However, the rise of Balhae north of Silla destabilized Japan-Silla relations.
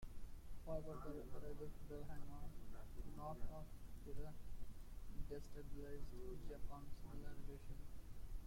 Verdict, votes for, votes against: rejected, 1, 2